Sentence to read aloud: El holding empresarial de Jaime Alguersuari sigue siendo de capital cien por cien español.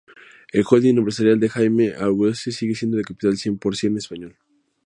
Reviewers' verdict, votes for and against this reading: rejected, 0, 2